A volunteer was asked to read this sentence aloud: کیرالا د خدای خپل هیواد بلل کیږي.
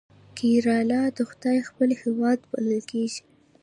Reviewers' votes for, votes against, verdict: 1, 2, rejected